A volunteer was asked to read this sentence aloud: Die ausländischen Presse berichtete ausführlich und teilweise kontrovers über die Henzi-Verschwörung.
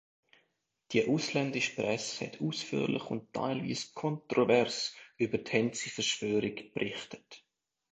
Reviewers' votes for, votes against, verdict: 0, 3, rejected